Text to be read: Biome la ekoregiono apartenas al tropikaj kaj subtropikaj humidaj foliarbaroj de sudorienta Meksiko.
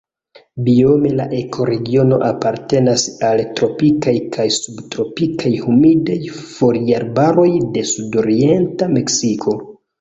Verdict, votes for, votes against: accepted, 2, 0